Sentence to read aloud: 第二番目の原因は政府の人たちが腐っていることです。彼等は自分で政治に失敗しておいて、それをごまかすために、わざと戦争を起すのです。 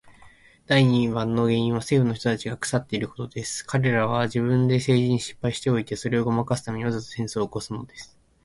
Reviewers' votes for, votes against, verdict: 2, 0, accepted